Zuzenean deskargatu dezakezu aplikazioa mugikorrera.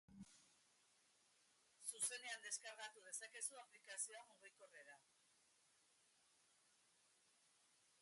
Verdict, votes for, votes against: rejected, 1, 2